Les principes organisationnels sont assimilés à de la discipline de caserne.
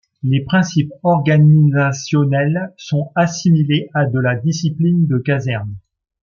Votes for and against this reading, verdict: 2, 0, accepted